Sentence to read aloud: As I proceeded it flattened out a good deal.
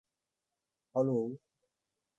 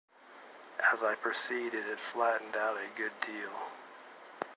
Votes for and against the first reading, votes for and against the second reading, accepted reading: 0, 2, 2, 0, second